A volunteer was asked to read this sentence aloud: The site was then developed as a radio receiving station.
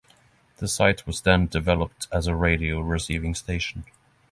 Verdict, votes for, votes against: accepted, 3, 0